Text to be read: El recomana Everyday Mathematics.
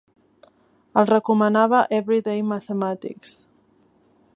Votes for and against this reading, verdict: 2, 0, accepted